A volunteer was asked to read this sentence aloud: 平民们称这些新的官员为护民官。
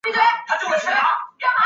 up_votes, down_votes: 0, 2